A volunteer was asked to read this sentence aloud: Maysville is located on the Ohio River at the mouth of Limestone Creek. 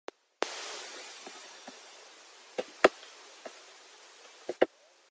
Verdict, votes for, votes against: rejected, 0, 2